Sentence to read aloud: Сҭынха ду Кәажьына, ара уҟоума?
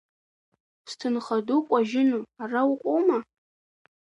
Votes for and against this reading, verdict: 0, 2, rejected